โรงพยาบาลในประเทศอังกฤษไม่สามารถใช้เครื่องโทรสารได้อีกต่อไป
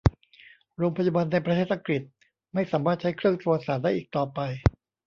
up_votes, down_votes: 0, 2